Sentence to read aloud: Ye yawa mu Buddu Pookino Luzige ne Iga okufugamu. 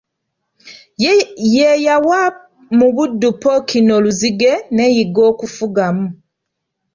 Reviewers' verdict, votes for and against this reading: rejected, 0, 2